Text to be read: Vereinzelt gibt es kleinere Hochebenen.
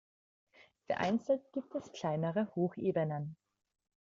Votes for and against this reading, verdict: 2, 1, accepted